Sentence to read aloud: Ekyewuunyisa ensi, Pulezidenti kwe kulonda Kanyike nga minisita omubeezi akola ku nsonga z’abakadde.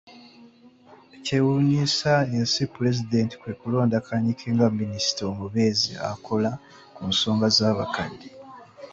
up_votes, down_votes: 2, 0